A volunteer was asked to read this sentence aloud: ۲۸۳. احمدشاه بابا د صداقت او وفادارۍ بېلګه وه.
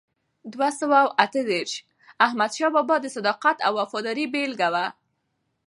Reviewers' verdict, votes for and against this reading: rejected, 0, 2